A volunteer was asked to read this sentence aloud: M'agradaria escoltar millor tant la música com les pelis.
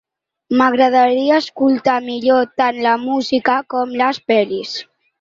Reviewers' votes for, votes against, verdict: 3, 0, accepted